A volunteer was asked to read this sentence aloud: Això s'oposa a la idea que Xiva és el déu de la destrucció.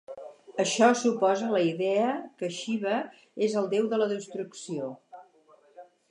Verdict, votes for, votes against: accepted, 4, 0